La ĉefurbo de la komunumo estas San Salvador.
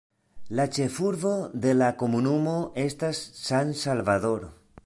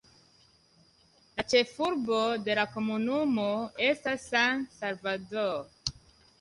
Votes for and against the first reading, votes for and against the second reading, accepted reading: 0, 2, 2, 0, second